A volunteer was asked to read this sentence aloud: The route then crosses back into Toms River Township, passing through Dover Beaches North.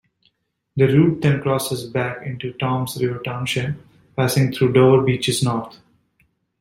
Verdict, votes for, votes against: accepted, 2, 0